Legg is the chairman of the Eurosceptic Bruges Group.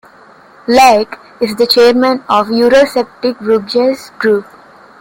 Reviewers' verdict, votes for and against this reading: accepted, 2, 1